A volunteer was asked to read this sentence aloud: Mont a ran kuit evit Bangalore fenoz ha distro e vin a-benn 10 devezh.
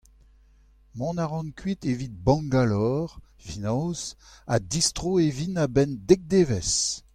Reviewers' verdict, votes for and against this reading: rejected, 0, 2